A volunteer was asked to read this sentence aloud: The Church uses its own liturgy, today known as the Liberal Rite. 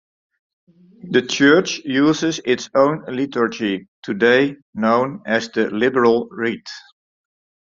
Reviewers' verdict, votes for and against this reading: rejected, 0, 2